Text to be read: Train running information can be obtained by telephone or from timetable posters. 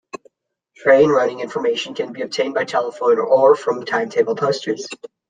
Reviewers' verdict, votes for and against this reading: accepted, 2, 0